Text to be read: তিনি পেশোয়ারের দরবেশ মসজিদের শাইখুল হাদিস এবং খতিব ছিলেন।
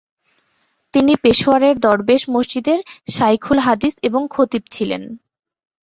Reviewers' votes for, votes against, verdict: 2, 0, accepted